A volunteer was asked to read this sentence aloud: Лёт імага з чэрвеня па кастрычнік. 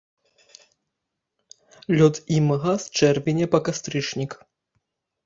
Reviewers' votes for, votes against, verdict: 1, 2, rejected